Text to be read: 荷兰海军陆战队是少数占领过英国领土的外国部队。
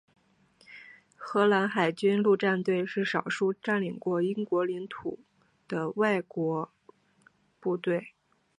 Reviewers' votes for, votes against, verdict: 2, 0, accepted